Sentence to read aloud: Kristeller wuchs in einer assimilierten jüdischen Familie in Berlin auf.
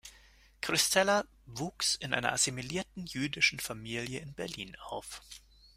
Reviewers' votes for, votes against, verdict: 2, 0, accepted